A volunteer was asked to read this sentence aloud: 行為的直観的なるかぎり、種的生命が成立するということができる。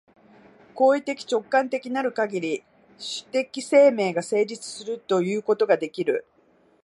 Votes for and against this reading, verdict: 2, 1, accepted